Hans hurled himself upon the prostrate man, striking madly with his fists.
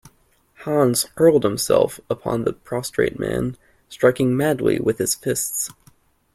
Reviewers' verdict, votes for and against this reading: accepted, 2, 0